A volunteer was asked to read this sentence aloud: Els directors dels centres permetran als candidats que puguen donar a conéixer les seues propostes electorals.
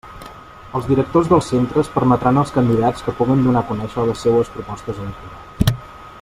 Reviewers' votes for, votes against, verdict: 0, 2, rejected